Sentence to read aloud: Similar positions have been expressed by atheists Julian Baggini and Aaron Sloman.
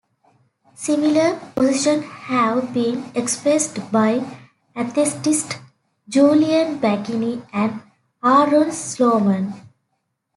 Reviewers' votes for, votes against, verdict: 1, 2, rejected